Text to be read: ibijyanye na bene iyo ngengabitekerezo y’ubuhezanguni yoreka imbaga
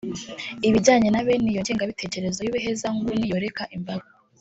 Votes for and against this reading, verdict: 2, 0, accepted